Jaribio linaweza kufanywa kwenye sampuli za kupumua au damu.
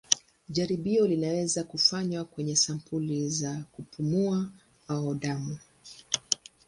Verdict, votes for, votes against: accepted, 8, 2